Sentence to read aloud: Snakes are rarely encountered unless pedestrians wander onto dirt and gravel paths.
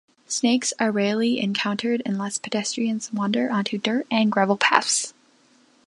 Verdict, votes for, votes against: accepted, 2, 0